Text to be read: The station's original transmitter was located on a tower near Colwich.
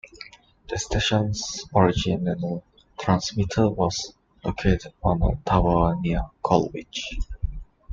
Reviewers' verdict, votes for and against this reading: rejected, 1, 2